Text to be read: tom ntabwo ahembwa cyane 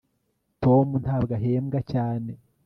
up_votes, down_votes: 2, 0